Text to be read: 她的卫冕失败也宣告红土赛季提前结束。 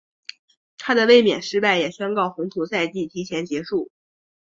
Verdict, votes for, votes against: accepted, 5, 1